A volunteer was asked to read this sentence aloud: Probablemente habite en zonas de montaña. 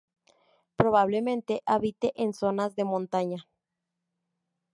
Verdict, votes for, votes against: accepted, 2, 0